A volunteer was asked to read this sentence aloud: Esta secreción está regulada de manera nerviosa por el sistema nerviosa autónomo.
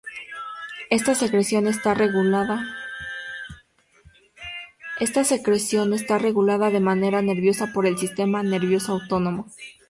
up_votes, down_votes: 0, 2